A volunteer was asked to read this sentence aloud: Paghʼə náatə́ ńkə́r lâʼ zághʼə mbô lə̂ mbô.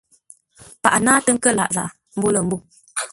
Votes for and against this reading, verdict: 2, 0, accepted